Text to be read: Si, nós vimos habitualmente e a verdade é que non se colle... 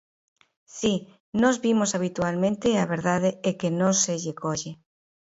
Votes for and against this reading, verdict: 0, 2, rejected